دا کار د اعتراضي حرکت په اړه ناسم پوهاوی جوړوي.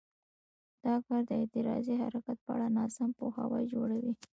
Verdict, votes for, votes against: accepted, 2, 1